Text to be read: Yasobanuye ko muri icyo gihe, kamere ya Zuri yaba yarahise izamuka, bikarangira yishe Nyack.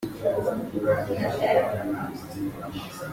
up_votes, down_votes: 0, 2